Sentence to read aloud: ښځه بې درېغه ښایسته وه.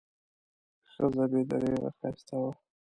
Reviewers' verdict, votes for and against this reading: rejected, 0, 2